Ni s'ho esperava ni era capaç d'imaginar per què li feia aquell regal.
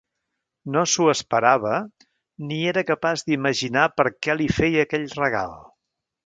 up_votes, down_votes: 1, 3